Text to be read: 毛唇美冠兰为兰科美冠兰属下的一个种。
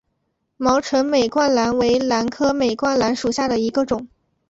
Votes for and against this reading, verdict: 2, 0, accepted